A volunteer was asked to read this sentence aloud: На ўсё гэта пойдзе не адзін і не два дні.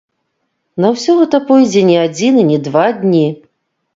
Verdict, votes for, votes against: accepted, 2, 0